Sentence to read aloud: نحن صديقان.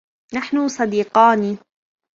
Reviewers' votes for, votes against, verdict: 3, 0, accepted